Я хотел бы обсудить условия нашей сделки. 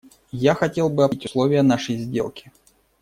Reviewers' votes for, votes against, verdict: 0, 2, rejected